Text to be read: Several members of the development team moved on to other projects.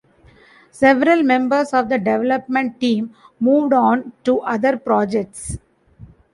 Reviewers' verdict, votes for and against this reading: accepted, 2, 0